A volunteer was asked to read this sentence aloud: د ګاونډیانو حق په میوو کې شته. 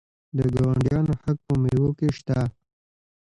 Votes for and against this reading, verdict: 0, 2, rejected